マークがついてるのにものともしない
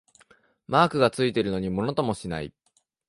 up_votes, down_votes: 2, 0